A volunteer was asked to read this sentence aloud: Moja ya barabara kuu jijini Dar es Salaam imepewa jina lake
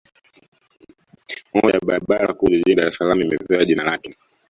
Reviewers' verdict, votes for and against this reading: rejected, 1, 2